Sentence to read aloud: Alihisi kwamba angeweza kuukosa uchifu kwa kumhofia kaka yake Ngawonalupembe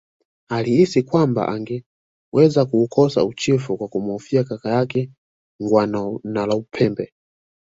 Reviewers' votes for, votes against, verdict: 1, 2, rejected